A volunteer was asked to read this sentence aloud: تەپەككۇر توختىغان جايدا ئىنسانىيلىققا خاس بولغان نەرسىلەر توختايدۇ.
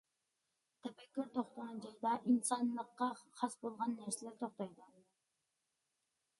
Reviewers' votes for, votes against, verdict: 2, 0, accepted